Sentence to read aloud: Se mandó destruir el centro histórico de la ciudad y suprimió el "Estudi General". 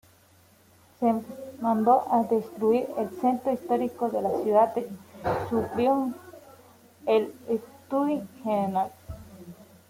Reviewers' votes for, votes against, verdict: 0, 2, rejected